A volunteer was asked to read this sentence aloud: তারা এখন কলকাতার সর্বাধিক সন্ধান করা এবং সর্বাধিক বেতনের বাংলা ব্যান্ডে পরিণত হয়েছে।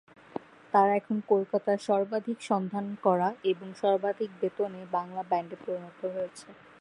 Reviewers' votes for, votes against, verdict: 2, 0, accepted